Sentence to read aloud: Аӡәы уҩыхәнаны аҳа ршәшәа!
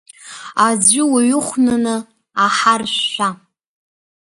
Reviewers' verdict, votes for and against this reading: accepted, 2, 1